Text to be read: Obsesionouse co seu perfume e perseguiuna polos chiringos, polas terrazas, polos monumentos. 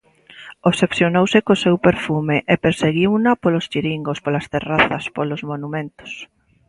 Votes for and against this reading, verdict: 2, 0, accepted